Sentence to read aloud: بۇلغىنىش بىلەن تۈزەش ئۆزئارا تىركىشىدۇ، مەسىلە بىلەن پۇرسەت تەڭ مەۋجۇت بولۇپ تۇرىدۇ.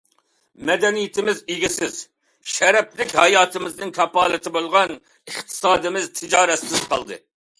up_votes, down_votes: 0, 2